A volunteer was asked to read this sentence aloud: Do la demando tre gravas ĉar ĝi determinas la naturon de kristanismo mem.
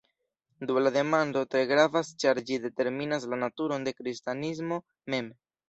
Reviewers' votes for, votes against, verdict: 2, 0, accepted